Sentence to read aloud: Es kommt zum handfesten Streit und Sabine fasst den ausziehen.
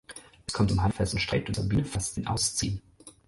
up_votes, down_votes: 0, 4